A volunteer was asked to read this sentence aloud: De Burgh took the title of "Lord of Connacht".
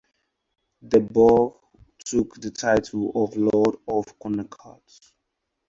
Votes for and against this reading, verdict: 0, 4, rejected